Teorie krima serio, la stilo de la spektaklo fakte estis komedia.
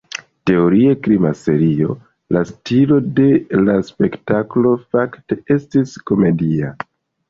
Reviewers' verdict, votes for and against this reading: accepted, 3, 1